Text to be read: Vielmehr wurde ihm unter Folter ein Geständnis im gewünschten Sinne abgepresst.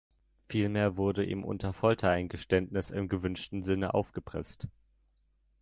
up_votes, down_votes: 0, 2